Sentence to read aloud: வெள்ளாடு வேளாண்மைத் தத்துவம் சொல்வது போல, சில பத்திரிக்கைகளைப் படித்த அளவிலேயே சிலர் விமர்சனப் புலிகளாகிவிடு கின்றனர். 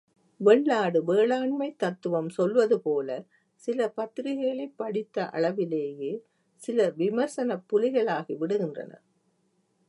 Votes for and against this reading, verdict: 0, 2, rejected